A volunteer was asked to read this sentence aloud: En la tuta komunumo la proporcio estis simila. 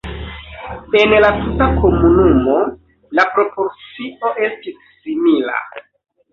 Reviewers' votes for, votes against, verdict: 2, 0, accepted